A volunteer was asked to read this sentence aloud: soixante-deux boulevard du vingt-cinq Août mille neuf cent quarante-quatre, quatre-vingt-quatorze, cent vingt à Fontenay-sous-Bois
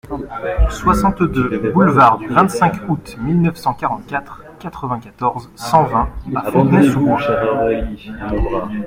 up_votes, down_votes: 1, 2